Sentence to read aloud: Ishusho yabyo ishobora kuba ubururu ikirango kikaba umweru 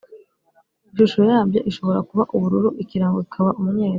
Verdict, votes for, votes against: accepted, 2, 0